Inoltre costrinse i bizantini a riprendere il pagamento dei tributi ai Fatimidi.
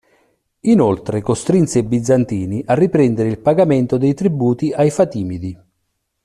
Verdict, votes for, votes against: accepted, 2, 0